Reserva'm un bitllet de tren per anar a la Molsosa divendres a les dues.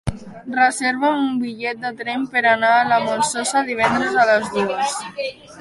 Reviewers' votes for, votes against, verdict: 1, 2, rejected